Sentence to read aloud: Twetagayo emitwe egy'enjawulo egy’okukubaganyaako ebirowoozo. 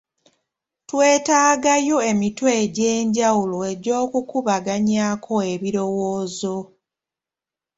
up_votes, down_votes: 2, 0